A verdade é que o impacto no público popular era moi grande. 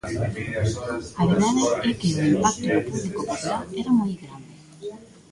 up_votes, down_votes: 0, 2